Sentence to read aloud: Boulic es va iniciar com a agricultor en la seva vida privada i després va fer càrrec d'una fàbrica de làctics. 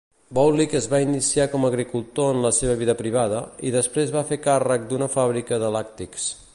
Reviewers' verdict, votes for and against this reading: accepted, 2, 0